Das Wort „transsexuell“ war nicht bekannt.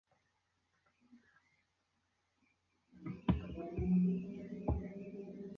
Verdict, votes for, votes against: rejected, 0, 2